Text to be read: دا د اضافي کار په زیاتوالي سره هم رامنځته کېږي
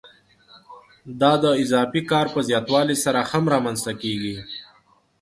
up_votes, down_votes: 0, 2